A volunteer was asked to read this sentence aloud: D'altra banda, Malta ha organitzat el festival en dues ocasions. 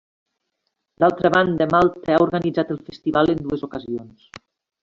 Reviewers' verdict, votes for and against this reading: accepted, 2, 0